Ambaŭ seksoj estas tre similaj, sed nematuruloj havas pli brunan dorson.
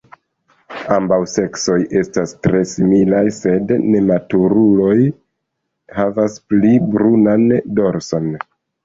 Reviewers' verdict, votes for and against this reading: rejected, 1, 2